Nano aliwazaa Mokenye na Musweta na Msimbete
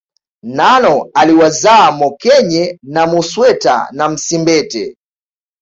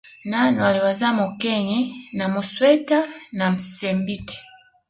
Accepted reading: second